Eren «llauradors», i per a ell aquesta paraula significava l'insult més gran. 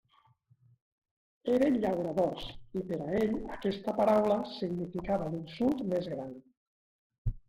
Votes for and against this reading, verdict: 2, 1, accepted